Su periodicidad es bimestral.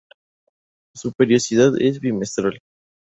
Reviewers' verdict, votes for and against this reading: rejected, 0, 2